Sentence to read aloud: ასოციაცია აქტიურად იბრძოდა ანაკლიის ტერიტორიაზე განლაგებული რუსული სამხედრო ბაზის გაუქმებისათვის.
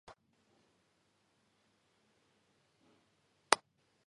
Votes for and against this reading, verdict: 0, 2, rejected